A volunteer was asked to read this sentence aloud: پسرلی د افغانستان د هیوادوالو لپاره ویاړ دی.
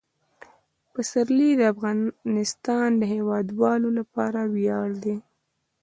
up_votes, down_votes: 1, 2